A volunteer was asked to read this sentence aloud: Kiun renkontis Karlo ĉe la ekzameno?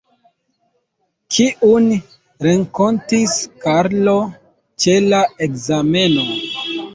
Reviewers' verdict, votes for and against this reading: rejected, 0, 2